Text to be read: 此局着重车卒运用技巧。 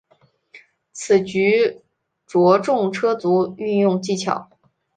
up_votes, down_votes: 2, 0